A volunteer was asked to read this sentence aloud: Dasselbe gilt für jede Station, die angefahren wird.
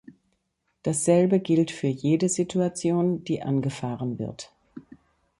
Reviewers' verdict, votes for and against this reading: rejected, 0, 2